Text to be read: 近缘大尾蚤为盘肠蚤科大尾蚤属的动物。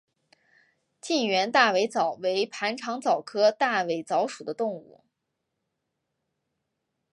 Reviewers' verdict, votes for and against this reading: accepted, 3, 0